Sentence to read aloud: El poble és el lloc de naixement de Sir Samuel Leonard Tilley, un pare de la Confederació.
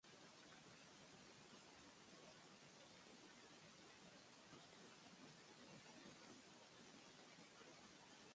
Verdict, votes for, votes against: rejected, 0, 2